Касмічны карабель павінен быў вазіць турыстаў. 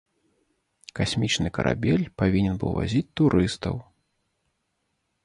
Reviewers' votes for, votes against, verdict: 2, 0, accepted